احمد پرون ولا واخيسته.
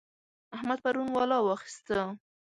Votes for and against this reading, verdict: 2, 0, accepted